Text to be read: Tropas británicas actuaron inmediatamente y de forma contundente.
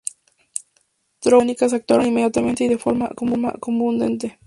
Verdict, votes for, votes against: rejected, 0, 2